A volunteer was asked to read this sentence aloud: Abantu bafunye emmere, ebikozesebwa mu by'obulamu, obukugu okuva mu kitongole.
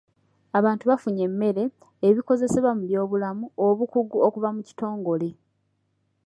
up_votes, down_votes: 2, 1